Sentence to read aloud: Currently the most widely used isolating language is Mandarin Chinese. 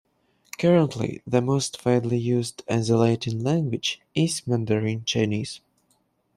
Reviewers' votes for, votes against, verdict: 0, 2, rejected